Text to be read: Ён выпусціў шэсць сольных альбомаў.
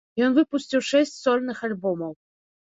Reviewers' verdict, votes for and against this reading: accepted, 2, 0